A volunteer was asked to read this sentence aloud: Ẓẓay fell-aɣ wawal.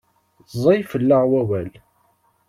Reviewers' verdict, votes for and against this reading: accepted, 2, 0